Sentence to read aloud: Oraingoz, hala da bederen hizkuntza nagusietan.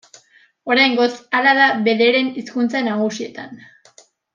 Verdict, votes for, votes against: accepted, 2, 0